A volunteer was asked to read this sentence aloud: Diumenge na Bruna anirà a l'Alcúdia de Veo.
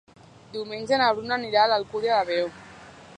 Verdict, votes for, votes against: accepted, 2, 0